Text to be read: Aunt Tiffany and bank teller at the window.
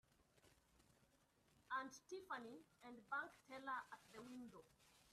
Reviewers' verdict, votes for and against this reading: rejected, 1, 2